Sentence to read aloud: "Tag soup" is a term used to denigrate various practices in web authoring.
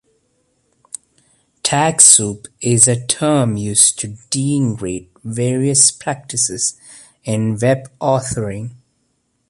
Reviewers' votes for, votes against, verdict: 1, 2, rejected